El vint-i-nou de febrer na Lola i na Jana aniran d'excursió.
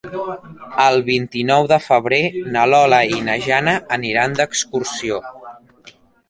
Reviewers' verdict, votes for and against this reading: rejected, 0, 2